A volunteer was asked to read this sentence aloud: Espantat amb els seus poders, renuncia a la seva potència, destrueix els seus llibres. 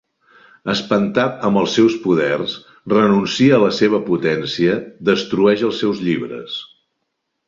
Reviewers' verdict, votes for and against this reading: accepted, 4, 0